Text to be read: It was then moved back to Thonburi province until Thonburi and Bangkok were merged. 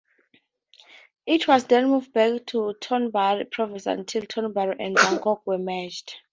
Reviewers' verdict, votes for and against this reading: rejected, 2, 2